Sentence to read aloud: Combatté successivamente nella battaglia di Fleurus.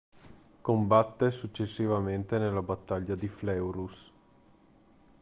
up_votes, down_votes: 0, 2